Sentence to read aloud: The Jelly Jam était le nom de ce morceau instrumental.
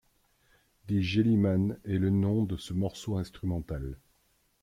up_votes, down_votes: 1, 2